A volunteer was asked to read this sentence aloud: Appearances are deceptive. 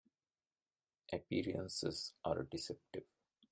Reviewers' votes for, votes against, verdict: 1, 2, rejected